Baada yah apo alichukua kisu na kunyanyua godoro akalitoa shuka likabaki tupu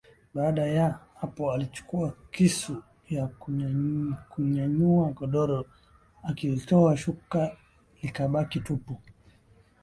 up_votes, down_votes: 1, 5